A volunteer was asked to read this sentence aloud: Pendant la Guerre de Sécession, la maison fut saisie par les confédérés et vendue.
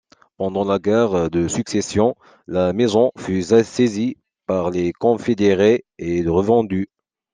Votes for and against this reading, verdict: 0, 2, rejected